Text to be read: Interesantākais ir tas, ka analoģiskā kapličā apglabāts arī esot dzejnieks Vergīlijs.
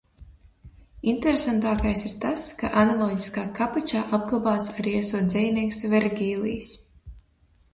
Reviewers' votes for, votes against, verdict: 2, 0, accepted